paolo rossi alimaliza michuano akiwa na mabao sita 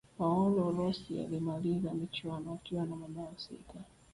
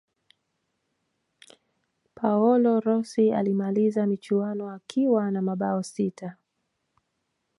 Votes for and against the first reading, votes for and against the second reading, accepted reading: 0, 2, 2, 0, second